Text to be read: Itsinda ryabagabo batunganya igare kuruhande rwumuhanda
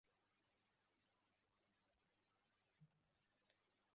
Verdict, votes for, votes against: rejected, 0, 2